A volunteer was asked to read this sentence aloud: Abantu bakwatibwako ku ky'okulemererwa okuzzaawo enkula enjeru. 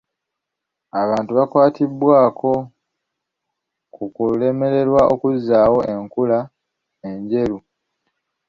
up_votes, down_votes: 0, 2